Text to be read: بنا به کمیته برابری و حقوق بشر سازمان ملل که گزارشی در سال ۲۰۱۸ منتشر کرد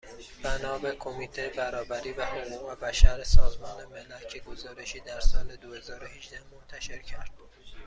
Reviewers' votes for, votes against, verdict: 0, 2, rejected